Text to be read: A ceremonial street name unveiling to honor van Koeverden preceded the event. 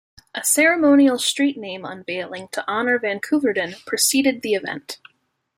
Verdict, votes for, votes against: accepted, 2, 0